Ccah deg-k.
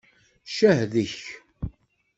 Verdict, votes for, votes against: accepted, 2, 0